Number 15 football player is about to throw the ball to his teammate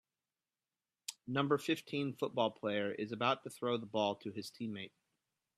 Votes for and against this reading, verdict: 0, 2, rejected